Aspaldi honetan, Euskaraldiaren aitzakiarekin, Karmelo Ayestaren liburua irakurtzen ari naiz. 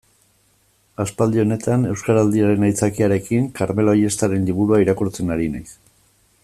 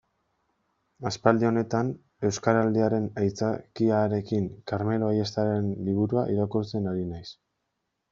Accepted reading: first